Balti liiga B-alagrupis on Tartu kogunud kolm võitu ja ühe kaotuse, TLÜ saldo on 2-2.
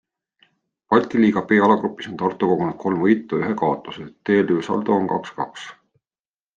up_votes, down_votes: 0, 2